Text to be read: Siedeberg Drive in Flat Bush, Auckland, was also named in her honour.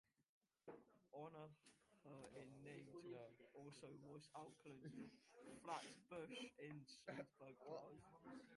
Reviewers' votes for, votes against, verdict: 0, 2, rejected